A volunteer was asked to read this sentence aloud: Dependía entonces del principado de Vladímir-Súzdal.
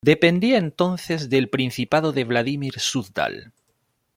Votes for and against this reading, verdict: 3, 0, accepted